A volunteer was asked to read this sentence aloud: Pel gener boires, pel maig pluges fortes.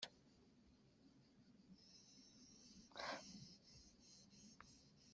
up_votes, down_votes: 0, 2